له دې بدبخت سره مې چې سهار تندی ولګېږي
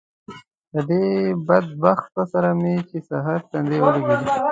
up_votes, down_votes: 1, 2